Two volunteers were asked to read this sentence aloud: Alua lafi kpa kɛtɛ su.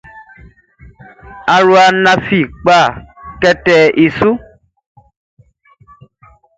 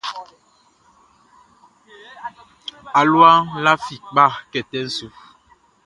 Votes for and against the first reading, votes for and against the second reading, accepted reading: 0, 2, 2, 0, second